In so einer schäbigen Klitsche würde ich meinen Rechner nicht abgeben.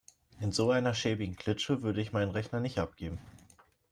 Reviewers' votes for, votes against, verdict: 2, 0, accepted